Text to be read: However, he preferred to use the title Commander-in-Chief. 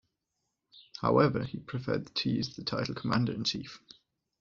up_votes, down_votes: 2, 0